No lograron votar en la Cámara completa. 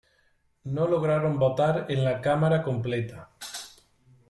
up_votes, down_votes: 2, 0